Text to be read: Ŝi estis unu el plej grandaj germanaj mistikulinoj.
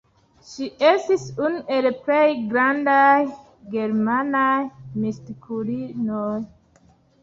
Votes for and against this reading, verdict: 0, 2, rejected